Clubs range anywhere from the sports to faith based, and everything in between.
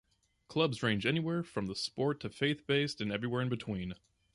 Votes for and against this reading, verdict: 0, 2, rejected